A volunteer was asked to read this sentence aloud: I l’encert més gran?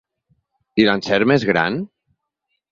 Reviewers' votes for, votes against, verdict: 2, 0, accepted